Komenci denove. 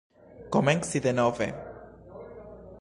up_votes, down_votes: 0, 2